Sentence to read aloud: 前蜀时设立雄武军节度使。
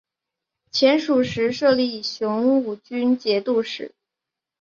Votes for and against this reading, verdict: 3, 0, accepted